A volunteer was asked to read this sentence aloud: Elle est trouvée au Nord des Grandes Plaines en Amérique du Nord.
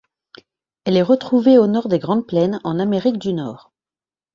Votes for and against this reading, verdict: 1, 2, rejected